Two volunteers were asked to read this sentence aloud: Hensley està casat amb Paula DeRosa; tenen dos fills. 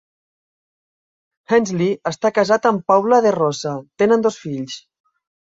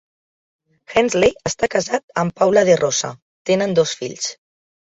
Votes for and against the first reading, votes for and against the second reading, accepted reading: 2, 0, 1, 2, first